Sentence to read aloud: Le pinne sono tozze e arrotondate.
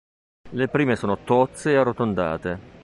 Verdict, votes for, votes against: rejected, 0, 2